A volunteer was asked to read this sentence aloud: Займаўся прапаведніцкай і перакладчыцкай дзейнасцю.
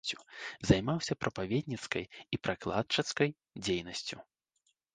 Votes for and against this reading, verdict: 1, 2, rejected